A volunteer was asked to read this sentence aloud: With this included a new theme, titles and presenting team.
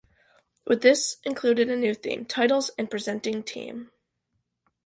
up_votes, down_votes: 2, 0